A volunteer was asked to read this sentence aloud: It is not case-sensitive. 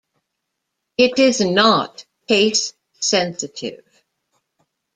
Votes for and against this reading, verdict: 2, 0, accepted